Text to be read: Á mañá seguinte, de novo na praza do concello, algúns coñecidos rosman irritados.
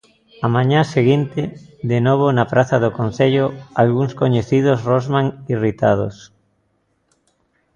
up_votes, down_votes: 2, 0